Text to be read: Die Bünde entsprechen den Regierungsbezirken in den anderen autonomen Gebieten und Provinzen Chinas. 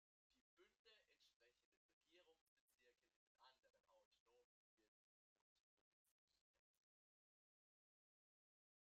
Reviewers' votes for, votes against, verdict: 0, 2, rejected